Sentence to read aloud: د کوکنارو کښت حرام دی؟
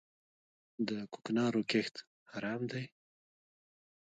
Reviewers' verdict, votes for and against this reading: rejected, 0, 2